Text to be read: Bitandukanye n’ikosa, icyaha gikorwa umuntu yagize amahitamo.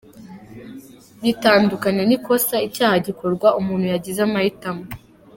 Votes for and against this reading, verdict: 1, 2, rejected